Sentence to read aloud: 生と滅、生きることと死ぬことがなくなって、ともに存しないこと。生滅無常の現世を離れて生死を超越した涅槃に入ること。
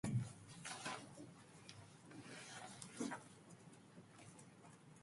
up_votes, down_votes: 0, 2